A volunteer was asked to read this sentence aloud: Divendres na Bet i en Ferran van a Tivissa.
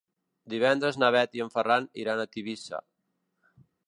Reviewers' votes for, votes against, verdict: 0, 2, rejected